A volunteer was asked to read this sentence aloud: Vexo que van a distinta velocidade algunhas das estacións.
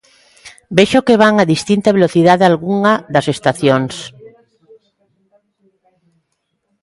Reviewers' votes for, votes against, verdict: 0, 2, rejected